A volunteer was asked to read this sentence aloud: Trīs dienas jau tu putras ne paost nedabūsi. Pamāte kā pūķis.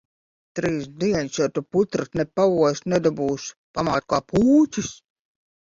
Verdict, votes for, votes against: rejected, 1, 2